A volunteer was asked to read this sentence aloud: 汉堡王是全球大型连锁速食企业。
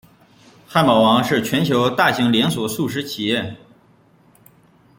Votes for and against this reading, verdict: 1, 2, rejected